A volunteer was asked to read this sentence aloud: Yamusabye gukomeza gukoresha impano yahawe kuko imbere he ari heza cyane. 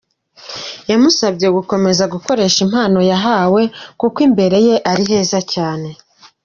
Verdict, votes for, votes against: accepted, 2, 0